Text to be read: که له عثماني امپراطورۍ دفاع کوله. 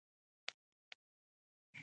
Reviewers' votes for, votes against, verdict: 0, 2, rejected